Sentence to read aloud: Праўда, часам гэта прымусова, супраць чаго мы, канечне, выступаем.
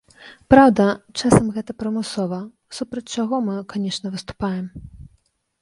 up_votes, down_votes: 3, 2